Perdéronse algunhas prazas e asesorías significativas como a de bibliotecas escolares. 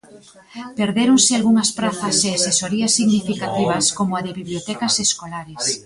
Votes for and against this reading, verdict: 1, 2, rejected